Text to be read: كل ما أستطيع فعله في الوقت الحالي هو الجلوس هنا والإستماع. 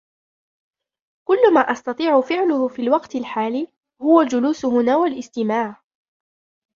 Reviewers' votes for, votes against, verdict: 1, 2, rejected